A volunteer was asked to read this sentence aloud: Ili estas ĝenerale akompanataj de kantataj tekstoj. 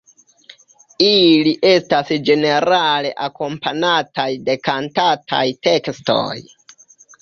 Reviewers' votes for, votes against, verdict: 1, 2, rejected